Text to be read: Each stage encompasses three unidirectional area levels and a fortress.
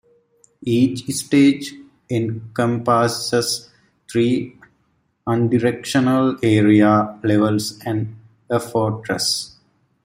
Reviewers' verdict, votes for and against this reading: rejected, 0, 2